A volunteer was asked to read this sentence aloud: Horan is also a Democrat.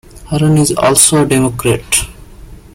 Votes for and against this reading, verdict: 3, 0, accepted